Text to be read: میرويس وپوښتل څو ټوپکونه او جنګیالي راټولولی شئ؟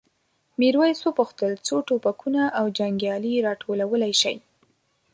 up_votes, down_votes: 2, 1